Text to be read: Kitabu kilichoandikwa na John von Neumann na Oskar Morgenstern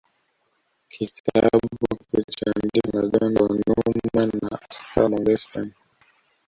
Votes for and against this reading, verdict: 1, 2, rejected